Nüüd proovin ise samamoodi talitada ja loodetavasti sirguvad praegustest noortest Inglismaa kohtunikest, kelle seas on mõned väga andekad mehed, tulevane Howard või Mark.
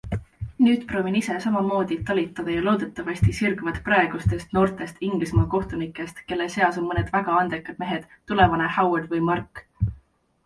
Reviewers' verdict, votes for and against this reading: accepted, 2, 0